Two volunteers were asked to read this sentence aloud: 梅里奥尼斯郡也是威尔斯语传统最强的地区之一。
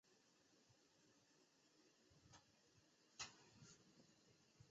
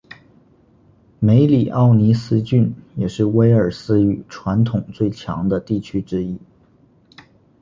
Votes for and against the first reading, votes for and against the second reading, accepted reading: 0, 2, 7, 0, second